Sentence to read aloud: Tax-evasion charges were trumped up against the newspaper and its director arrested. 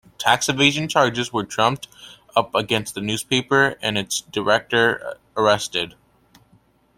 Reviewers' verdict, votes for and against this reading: accepted, 2, 0